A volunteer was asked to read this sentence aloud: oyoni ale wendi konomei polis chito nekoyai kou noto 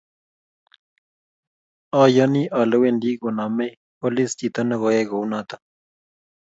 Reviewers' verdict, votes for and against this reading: accepted, 2, 0